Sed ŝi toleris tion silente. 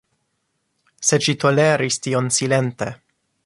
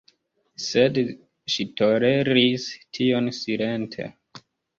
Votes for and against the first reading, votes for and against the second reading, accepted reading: 2, 0, 1, 2, first